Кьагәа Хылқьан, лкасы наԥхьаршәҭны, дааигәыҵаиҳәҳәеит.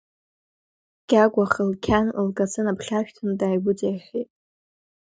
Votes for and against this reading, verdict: 2, 1, accepted